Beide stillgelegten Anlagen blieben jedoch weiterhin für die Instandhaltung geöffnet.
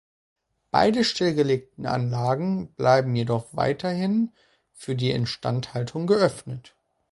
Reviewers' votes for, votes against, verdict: 0, 2, rejected